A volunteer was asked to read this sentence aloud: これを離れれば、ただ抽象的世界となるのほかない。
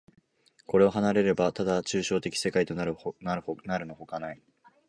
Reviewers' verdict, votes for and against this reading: rejected, 0, 2